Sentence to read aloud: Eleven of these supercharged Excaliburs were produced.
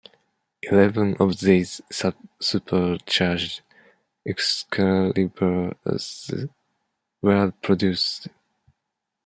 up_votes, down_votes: 1, 2